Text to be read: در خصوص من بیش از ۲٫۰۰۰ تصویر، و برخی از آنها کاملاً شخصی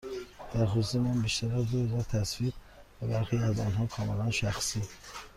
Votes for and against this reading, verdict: 0, 2, rejected